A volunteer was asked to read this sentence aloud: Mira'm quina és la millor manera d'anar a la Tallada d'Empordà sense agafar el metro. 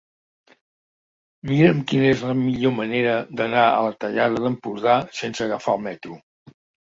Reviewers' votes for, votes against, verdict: 2, 0, accepted